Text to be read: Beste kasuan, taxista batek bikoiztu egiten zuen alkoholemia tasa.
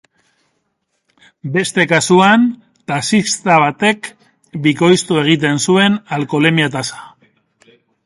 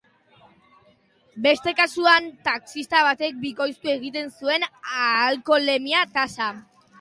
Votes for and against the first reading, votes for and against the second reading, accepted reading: 3, 0, 1, 2, first